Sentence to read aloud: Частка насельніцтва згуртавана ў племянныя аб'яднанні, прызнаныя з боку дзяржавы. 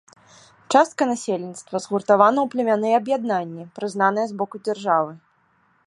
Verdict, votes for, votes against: accepted, 2, 0